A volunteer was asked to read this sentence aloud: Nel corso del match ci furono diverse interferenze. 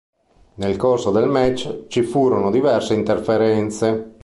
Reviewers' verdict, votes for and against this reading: accepted, 2, 0